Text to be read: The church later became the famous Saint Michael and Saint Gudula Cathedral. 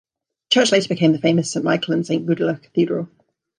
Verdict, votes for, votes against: accepted, 2, 1